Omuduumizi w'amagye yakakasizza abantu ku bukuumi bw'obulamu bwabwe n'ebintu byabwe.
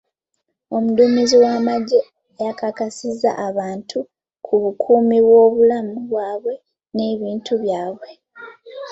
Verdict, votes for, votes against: accepted, 2, 0